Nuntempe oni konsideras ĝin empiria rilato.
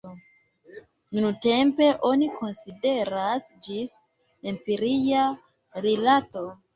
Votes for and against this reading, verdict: 1, 2, rejected